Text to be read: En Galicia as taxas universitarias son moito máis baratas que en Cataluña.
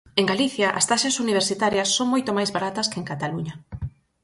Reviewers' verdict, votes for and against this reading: accepted, 4, 0